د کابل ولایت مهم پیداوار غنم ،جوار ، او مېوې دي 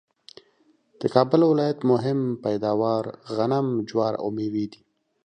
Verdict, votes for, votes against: accepted, 2, 0